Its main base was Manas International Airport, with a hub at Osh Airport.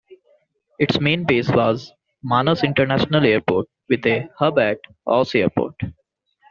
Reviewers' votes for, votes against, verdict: 2, 0, accepted